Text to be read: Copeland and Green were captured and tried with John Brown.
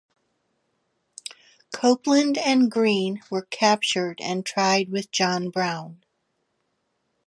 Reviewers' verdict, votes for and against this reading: accepted, 2, 0